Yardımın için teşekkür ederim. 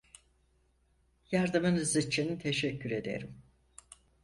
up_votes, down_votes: 2, 4